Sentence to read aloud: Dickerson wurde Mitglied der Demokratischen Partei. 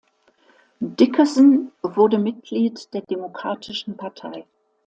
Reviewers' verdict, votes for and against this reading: accepted, 2, 0